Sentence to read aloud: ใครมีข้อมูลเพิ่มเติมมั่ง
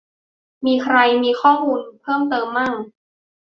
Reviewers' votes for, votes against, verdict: 0, 2, rejected